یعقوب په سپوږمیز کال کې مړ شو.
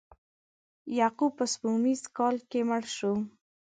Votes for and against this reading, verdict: 2, 0, accepted